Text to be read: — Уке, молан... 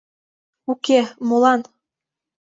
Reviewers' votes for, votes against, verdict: 2, 0, accepted